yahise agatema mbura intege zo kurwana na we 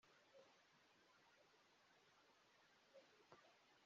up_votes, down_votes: 0, 2